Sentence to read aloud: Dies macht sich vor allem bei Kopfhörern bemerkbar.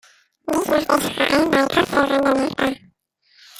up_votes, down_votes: 0, 2